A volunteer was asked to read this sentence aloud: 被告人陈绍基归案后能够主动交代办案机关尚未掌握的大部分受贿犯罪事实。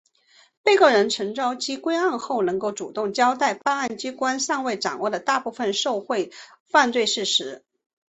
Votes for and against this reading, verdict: 3, 0, accepted